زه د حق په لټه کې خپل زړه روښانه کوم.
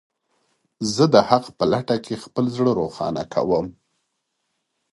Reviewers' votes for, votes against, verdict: 2, 0, accepted